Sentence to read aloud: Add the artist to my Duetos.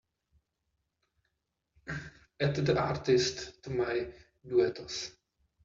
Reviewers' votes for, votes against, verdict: 0, 2, rejected